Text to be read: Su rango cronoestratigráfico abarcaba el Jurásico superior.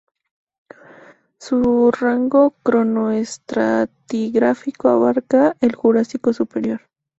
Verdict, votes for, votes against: rejected, 0, 2